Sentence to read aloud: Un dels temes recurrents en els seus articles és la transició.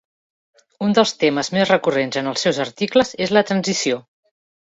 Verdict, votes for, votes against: rejected, 0, 2